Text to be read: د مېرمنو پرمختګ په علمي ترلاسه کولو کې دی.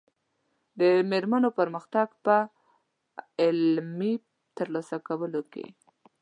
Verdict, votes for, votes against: accepted, 2, 0